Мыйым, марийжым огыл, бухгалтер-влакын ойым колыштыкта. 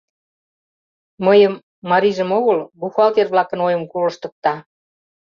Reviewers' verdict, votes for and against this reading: accepted, 2, 0